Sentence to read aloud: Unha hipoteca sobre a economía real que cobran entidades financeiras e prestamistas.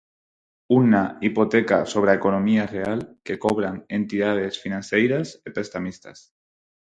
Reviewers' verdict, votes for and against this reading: rejected, 0, 4